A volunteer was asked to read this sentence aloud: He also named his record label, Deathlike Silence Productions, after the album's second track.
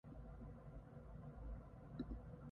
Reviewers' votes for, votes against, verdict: 0, 2, rejected